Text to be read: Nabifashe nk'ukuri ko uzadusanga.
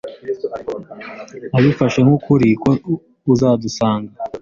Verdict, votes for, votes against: accepted, 2, 0